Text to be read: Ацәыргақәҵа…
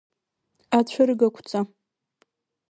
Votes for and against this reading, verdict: 2, 0, accepted